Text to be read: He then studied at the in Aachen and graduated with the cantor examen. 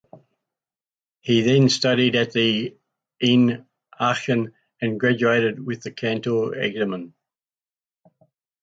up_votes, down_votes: 0, 2